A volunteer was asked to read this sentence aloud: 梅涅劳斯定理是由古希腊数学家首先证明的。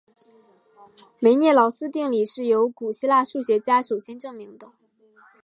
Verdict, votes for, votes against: accepted, 3, 0